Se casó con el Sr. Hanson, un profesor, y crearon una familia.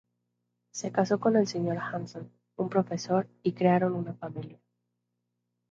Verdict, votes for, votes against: rejected, 0, 2